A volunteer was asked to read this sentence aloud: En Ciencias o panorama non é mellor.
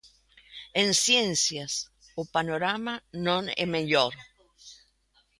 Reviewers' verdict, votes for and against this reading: accepted, 2, 1